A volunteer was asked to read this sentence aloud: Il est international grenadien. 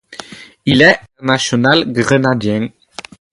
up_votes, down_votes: 0, 2